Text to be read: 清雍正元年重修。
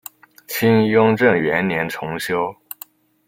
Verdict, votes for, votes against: accepted, 2, 0